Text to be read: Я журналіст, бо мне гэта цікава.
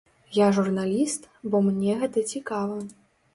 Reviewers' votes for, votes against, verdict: 2, 0, accepted